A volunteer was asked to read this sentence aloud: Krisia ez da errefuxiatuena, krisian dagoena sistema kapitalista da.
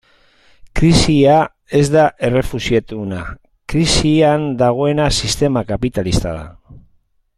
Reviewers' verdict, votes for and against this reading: accepted, 2, 0